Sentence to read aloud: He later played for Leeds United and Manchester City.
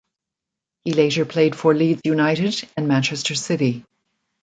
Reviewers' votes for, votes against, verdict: 0, 2, rejected